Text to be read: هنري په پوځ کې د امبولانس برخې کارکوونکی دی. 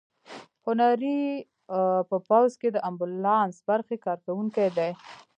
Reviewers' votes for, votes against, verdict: 1, 2, rejected